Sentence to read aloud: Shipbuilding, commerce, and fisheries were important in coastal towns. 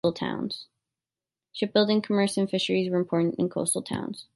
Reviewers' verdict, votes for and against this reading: rejected, 1, 2